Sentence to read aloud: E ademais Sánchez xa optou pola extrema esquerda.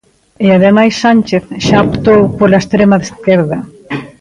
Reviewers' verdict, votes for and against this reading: rejected, 0, 2